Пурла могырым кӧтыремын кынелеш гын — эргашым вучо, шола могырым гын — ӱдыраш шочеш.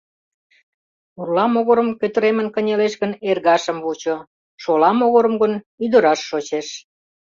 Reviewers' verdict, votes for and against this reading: accepted, 2, 0